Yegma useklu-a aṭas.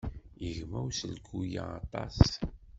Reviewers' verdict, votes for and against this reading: rejected, 1, 2